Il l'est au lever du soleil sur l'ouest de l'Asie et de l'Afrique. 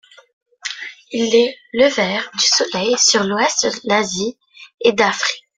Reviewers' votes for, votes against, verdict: 1, 2, rejected